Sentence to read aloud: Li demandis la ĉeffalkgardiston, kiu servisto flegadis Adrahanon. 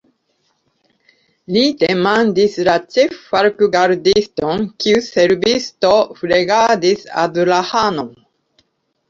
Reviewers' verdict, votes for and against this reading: rejected, 1, 2